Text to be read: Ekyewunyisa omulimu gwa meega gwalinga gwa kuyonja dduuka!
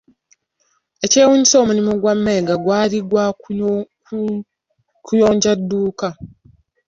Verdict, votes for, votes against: rejected, 0, 2